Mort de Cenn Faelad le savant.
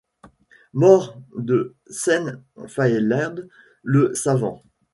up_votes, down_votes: 0, 2